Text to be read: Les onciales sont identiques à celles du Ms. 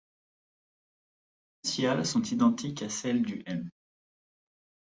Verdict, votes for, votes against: rejected, 0, 2